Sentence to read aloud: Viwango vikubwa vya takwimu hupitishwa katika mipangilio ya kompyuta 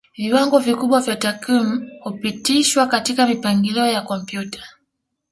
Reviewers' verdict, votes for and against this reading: accepted, 2, 0